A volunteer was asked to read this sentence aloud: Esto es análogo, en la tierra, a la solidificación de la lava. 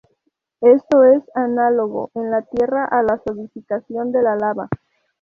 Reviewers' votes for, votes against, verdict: 2, 4, rejected